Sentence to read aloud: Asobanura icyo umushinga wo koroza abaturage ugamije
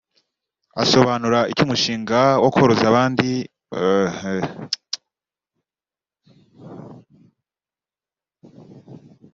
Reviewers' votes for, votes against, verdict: 0, 2, rejected